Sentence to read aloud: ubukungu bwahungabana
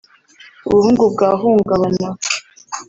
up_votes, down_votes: 1, 2